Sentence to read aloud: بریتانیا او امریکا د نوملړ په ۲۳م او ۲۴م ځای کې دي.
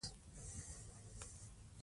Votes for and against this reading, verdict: 0, 2, rejected